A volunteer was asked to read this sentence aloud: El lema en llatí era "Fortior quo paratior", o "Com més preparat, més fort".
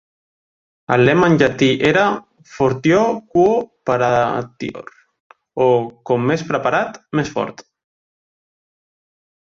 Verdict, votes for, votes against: rejected, 0, 2